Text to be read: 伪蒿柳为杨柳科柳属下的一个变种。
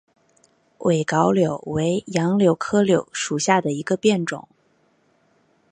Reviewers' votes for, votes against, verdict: 4, 0, accepted